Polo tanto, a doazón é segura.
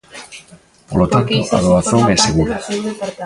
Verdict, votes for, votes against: rejected, 1, 2